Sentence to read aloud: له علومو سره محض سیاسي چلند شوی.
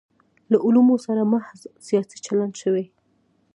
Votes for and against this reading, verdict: 2, 0, accepted